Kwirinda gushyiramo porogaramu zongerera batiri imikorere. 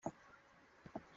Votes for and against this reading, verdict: 0, 2, rejected